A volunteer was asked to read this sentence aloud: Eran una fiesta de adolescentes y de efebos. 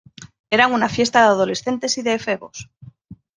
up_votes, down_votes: 1, 2